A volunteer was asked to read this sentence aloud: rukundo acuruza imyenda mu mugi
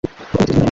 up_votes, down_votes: 0, 2